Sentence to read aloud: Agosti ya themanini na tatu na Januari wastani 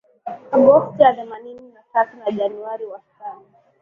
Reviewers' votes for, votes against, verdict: 10, 4, accepted